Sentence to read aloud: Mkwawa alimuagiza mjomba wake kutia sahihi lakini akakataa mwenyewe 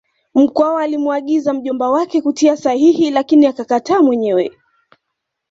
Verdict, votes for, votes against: accepted, 2, 0